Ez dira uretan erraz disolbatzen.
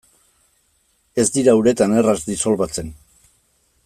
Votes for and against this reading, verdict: 2, 0, accepted